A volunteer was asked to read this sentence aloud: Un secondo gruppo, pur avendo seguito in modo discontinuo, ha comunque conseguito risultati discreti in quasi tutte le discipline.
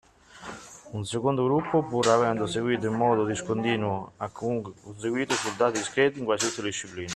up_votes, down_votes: 1, 2